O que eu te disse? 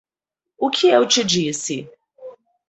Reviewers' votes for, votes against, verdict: 4, 0, accepted